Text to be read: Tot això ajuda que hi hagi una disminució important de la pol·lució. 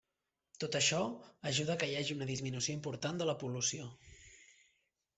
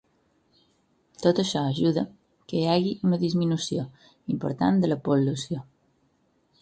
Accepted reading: first